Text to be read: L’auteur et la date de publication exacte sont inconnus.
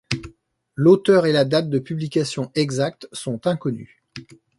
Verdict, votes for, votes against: accepted, 2, 0